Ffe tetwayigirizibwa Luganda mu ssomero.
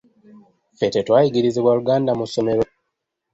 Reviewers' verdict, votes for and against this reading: accepted, 2, 0